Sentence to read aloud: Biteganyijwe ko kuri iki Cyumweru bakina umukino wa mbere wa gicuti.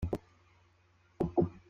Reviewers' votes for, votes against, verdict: 1, 2, rejected